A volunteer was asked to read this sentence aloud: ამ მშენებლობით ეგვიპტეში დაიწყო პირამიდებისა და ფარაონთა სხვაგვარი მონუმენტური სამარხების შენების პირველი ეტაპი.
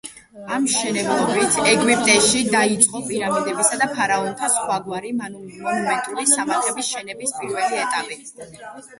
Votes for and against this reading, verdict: 1, 2, rejected